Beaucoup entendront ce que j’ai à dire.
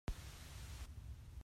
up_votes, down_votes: 0, 2